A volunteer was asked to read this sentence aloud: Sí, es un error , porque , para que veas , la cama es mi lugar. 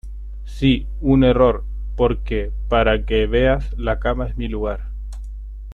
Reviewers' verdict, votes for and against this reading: rejected, 0, 2